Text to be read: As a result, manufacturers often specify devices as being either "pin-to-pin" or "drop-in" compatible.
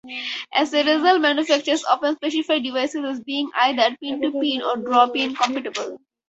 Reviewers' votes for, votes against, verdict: 4, 0, accepted